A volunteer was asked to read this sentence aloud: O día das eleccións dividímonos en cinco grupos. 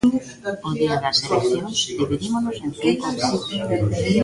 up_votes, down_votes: 0, 2